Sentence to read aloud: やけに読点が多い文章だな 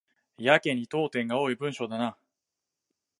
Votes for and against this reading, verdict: 2, 0, accepted